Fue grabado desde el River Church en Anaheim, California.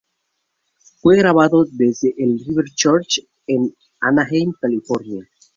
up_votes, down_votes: 0, 4